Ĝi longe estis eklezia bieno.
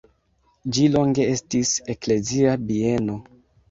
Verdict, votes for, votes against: rejected, 1, 2